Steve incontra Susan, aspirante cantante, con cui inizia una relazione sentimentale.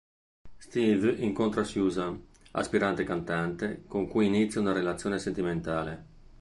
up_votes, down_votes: 2, 0